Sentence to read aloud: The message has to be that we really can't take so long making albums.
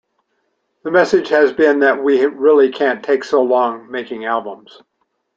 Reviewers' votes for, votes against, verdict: 1, 2, rejected